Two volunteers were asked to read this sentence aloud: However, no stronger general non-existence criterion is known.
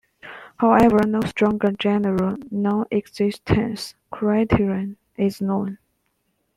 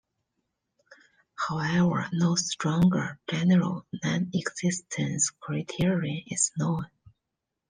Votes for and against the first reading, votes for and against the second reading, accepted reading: 1, 2, 2, 1, second